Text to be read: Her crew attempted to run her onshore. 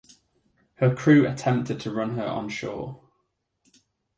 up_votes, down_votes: 2, 0